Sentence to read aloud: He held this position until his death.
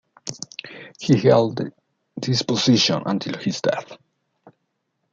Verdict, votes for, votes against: accepted, 2, 1